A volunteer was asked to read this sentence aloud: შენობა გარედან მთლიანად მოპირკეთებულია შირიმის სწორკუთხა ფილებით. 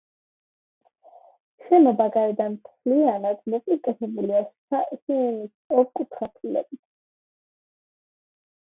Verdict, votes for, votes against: rejected, 1, 2